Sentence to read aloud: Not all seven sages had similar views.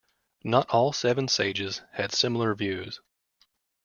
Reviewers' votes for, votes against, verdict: 2, 0, accepted